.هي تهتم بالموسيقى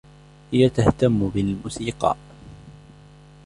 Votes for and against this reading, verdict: 2, 0, accepted